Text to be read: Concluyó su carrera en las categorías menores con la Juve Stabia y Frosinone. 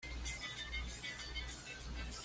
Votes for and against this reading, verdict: 1, 2, rejected